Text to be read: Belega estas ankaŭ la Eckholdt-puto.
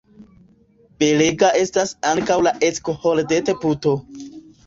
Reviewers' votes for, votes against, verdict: 0, 2, rejected